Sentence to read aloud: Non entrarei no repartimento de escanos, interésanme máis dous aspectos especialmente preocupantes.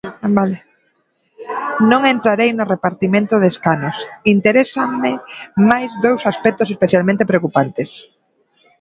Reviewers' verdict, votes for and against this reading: rejected, 1, 2